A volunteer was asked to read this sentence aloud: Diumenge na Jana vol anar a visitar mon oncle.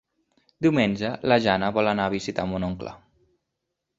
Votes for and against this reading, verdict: 2, 4, rejected